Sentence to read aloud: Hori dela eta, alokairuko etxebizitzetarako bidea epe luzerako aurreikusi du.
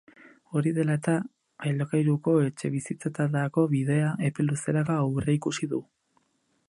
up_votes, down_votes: 4, 6